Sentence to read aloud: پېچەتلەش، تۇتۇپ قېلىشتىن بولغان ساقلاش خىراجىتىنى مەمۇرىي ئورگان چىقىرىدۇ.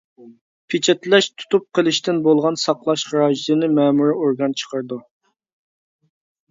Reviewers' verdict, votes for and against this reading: accepted, 2, 0